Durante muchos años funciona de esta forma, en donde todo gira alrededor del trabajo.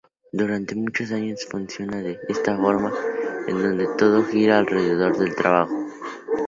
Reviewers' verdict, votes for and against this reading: accepted, 2, 0